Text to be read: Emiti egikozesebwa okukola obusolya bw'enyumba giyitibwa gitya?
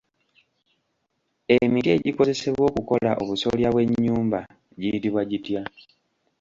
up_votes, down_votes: 1, 2